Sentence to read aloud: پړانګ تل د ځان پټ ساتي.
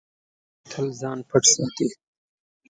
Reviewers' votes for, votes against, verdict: 0, 2, rejected